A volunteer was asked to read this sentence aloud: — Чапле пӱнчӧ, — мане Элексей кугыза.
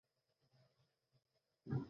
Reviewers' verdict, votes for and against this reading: rejected, 0, 2